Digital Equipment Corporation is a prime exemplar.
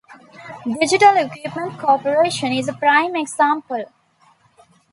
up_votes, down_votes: 2, 1